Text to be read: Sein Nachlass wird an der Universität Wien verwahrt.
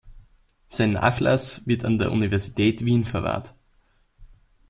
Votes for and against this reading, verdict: 1, 2, rejected